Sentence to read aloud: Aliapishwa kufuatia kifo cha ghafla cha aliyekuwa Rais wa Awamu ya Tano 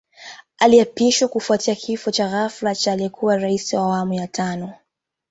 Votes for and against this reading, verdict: 2, 0, accepted